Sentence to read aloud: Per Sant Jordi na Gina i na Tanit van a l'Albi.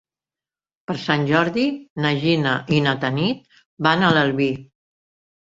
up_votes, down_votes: 1, 2